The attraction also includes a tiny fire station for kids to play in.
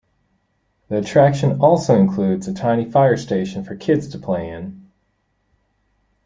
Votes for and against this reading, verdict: 2, 0, accepted